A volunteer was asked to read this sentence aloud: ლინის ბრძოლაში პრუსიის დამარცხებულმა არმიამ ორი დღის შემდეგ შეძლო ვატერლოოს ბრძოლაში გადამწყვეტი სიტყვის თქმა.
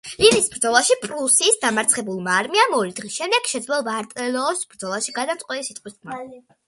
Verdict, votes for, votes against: accepted, 2, 1